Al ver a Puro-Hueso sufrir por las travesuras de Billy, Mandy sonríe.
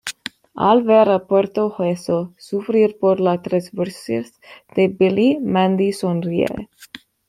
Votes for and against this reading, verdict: 1, 2, rejected